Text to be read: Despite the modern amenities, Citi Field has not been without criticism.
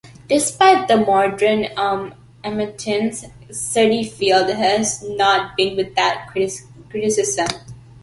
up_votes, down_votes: 0, 2